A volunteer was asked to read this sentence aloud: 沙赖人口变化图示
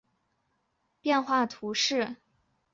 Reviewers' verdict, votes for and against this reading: rejected, 1, 2